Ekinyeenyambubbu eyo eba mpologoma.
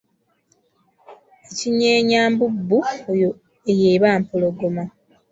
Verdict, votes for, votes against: rejected, 1, 2